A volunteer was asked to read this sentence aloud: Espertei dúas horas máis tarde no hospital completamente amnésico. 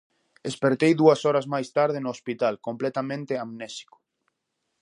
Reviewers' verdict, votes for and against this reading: accepted, 2, 0